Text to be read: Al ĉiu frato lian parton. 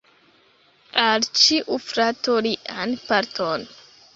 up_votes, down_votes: 2, 0